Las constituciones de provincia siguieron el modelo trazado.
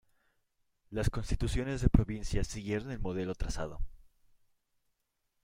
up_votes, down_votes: 0, 2